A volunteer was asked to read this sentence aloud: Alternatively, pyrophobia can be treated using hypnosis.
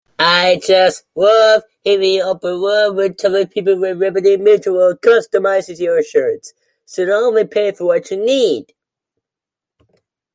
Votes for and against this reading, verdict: 0, 2, rejected